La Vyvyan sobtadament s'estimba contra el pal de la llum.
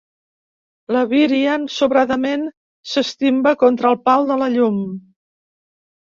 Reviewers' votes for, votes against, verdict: 1, 2, rejected